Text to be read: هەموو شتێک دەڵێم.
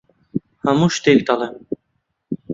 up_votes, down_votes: 2, 0